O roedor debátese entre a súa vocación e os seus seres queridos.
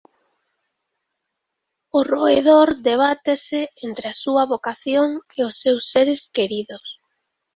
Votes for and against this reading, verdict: 2, 0, accepted